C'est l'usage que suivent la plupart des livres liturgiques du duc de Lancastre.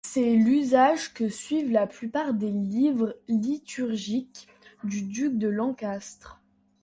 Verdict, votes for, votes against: accepted, 2, 0